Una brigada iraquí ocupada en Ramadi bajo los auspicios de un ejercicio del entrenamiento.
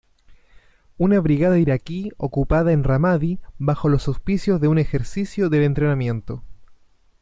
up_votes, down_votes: 2, 0